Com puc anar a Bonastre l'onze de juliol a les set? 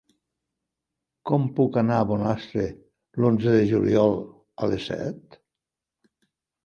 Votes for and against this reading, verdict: 3, 0, accepted